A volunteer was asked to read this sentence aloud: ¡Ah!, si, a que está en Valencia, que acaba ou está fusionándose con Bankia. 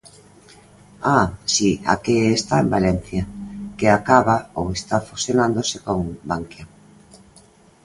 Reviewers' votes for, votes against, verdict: 2, 0, accepted